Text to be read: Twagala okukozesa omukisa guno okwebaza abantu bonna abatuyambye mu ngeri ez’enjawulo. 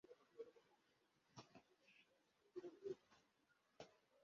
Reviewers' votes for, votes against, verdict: 0, 2, rejected